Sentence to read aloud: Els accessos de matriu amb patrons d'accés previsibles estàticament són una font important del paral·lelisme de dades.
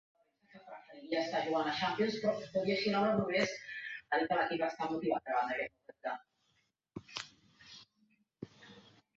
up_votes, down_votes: 1, 2